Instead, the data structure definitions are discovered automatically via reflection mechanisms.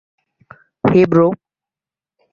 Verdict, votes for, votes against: rejected, 0, 2